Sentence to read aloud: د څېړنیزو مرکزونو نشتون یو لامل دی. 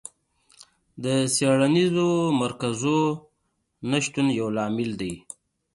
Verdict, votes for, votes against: accepted, 2, 0